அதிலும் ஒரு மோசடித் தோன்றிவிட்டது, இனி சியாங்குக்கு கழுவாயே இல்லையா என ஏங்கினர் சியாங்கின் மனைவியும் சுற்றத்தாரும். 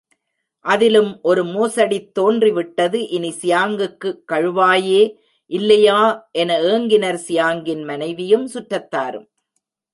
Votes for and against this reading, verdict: 2, 1, accepted